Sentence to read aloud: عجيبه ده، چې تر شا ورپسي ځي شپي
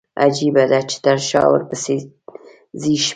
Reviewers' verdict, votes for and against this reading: rejected, 1, 2